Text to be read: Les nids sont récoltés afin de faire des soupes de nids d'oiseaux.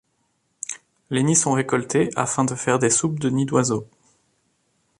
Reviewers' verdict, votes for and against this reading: accepted, 2, 0